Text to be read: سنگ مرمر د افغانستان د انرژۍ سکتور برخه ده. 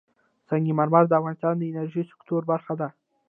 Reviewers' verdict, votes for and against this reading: rejected, 1, 2